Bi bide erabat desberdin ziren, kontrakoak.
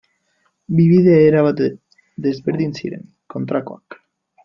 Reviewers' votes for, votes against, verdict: 1, 3, rejected